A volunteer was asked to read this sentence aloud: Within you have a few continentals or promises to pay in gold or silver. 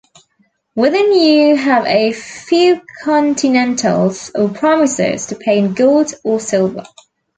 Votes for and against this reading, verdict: 2, 0, accepted